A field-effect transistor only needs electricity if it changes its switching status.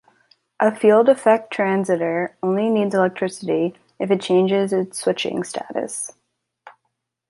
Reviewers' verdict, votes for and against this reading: rejected, 0, 2